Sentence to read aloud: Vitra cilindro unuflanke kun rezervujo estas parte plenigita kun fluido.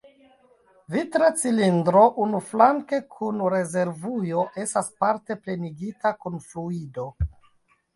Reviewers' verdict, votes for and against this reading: rejected, 1, 2